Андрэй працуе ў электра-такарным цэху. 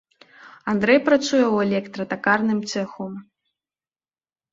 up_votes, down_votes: 2, 0